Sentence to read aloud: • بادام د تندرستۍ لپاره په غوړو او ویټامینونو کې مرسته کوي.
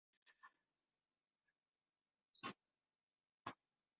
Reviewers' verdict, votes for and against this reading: rejected, 0, 2